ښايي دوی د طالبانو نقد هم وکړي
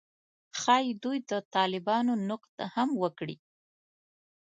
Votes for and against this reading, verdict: 1, 2, rejected